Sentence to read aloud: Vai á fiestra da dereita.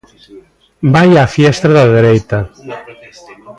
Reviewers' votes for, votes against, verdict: 1, 2, rejected